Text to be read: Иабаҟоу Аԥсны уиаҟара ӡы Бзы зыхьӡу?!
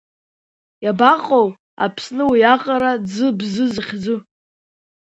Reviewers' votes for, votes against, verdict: 2, 0, accepted